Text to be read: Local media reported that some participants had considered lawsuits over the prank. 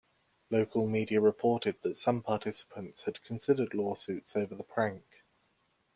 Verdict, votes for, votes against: accepted, 2, 0